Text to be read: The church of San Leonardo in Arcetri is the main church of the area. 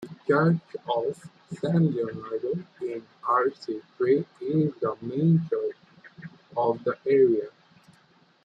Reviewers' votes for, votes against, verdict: 1, 2, rejected